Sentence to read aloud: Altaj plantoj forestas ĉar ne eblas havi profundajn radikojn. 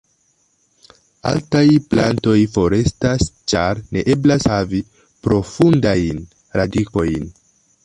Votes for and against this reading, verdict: 2, 0, accepted